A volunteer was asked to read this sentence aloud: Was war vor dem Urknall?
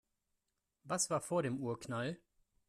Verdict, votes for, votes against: accepted, 2, 0